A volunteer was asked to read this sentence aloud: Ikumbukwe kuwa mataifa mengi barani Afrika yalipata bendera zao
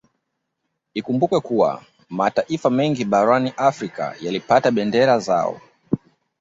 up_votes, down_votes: 2, 0